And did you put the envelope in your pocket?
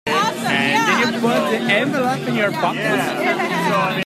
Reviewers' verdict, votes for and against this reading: rejected, 0, 3